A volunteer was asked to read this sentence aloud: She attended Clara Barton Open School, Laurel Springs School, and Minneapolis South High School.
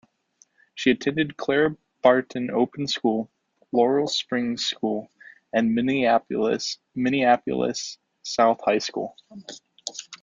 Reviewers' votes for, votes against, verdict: 0, 2, rejected